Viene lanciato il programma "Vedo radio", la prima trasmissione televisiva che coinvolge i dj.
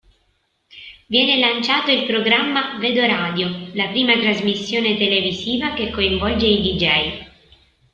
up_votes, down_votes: 2, 0